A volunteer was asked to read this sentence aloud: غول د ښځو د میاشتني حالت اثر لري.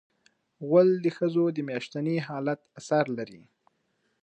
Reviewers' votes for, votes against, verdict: 2, 0, accepted